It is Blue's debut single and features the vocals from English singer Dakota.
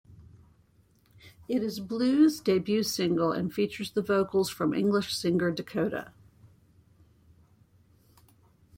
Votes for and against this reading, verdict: 1, 2, rejected